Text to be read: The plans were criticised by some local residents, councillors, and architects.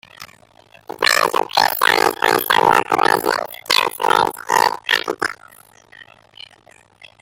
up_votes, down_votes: 0, 2